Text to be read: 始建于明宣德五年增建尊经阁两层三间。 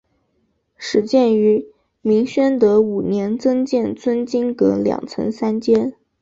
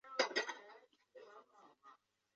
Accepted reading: first